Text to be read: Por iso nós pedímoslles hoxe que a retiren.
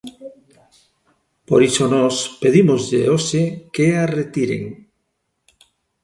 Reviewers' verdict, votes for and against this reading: rejected, 0, 2